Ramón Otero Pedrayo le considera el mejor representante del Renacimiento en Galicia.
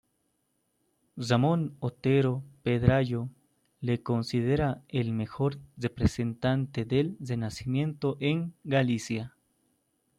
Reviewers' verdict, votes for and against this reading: rejected, 1, 2